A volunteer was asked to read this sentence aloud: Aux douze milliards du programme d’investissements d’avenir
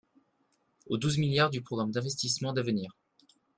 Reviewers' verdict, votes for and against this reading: accepted, 2, 0